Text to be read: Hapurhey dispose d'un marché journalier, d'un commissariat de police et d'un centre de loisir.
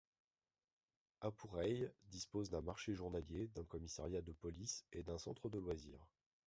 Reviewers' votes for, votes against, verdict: 2, 1, accepted